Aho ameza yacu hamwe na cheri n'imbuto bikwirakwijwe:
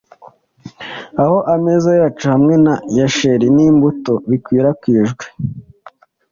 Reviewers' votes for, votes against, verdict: 2, 0, accepted